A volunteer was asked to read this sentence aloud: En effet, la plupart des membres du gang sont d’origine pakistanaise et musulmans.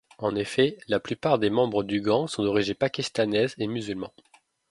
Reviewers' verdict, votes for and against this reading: rejected, 1, 2